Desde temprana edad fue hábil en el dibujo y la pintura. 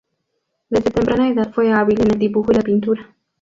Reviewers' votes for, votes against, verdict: 0, 2, rejected